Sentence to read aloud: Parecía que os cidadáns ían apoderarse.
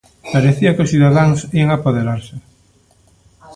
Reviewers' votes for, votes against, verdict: 1, 2, rejected